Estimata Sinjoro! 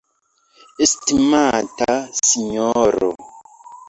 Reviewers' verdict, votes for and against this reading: rejected, 0, 2